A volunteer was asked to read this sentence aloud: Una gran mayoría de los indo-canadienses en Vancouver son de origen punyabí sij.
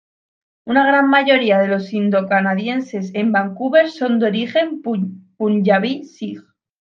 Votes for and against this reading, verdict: 0, 2, rejected